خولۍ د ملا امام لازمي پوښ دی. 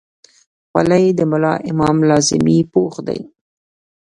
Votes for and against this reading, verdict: 0, 2, rejected